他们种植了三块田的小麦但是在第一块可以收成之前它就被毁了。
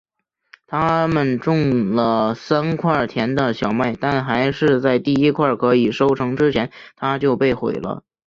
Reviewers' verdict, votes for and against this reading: rejected, 2, 3